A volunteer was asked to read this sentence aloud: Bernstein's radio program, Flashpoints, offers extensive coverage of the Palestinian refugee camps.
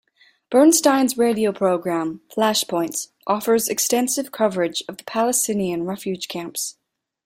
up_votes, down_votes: 2, 0